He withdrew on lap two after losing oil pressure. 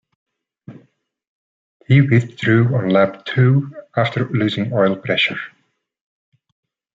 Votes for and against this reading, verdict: 2, 0, accepted